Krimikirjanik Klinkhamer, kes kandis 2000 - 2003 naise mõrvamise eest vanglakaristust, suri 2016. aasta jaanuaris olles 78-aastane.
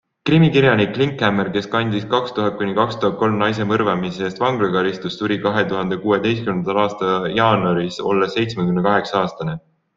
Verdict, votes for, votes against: rejected, 0, 2